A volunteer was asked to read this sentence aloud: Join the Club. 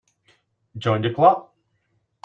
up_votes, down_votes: 3, 1